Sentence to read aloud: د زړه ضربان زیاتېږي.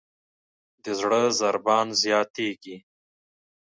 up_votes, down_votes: 2, 0